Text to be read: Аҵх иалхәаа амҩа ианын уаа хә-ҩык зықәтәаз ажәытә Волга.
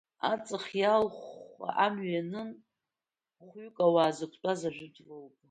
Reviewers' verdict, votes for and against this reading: rejected, 1, 2